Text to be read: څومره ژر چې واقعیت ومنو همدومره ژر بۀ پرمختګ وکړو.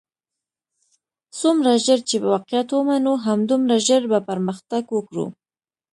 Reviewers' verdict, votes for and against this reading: accepted, 2, 0